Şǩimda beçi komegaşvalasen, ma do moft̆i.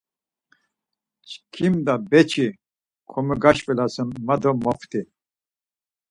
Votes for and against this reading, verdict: 2, 4, rejected